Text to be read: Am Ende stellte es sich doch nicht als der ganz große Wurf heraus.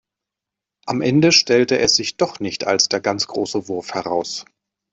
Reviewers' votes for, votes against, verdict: 2, 0, accepted